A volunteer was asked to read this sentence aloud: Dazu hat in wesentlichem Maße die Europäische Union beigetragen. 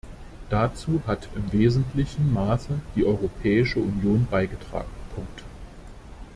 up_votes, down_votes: 0, 2